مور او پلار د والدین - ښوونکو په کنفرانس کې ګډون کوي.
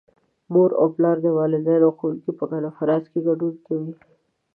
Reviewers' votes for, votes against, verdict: 1, 2, rejected